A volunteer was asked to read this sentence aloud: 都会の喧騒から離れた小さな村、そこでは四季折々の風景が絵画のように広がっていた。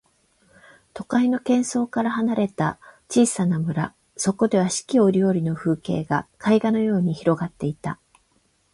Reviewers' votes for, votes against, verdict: 12, 8, accepted